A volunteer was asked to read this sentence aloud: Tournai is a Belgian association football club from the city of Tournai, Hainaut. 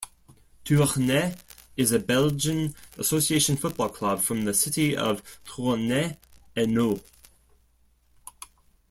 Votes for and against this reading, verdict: 2, 0, accepted